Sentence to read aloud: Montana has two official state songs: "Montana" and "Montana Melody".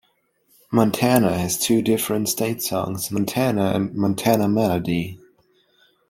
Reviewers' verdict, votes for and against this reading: rejected, 0, 2